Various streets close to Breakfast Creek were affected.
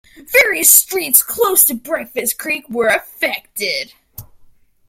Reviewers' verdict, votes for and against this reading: rejected, 1, 2